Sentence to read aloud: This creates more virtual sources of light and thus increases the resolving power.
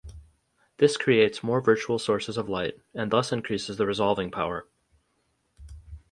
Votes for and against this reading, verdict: 2, 2, rejected